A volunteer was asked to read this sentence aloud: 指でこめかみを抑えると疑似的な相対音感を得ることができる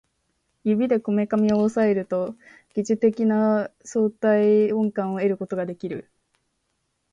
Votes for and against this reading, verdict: 2, 0, accepted